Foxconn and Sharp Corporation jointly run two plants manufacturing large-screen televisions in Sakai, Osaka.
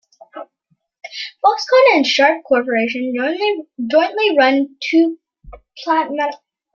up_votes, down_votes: 0, 2